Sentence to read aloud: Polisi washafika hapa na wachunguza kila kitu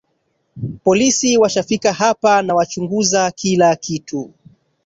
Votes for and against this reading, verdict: 2, 1, accepted